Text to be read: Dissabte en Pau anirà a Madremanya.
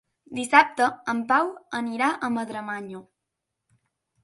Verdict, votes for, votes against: accepted, 2, 0